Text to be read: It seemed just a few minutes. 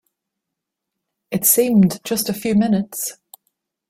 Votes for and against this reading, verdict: 3, 0, accepted